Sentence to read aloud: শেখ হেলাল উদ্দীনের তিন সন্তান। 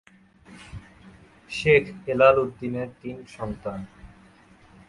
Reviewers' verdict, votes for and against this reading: rejected, 0, 2